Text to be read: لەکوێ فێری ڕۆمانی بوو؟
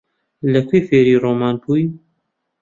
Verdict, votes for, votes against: rejected, 0, 2